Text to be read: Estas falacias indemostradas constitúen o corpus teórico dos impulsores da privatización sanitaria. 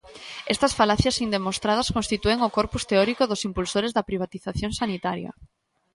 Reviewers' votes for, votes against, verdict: 2, 0, accepted